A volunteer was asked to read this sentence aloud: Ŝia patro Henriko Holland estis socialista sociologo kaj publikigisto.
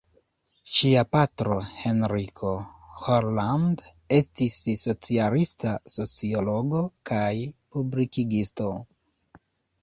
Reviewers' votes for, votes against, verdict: 2, 1, accepted